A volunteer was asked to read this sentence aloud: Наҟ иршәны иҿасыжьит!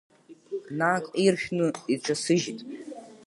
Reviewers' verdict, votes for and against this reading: rejected, 1, 2